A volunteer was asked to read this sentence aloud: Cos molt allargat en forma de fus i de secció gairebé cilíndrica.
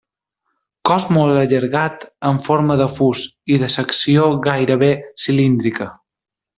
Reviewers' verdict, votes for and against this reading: accepted, 3, 0